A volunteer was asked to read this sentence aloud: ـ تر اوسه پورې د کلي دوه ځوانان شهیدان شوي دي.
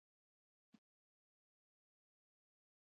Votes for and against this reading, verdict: 1, 2, rejected